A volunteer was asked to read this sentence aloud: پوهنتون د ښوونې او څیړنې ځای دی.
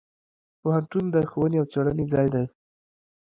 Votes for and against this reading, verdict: 0, 2, rejected